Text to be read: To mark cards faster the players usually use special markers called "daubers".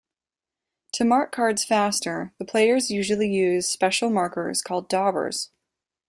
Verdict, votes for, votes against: accepted, 2, 0